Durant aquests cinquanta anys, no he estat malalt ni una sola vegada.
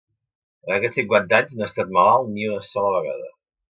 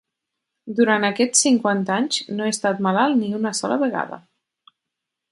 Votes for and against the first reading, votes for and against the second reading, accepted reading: 0, 2, 6, 0, second